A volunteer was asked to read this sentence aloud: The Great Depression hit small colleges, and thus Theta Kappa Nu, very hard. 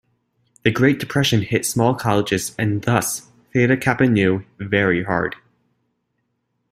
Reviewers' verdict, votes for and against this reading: accepted, 2, 0